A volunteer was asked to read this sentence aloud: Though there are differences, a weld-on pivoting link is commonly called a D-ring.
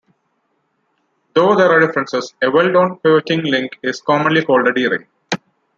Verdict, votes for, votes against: rejected, 1, 2